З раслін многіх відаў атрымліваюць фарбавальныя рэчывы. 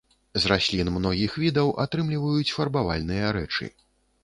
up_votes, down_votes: 0, 2